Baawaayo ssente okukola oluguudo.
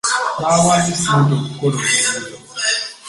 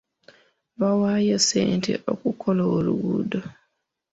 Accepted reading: second